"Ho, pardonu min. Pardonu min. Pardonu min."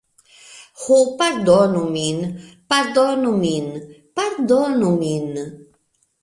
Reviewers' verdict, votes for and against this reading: accepted, 2, 1